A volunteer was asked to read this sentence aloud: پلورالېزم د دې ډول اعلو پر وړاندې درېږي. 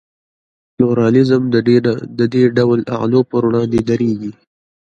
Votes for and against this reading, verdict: 1, 2, rejected